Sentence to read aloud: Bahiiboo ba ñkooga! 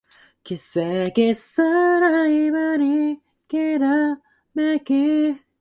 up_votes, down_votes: 0, 2